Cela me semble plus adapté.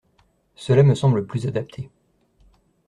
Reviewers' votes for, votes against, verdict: 2, 0, accepted